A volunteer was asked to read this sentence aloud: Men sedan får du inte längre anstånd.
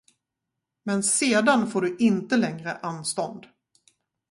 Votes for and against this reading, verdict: 0, 2, rejected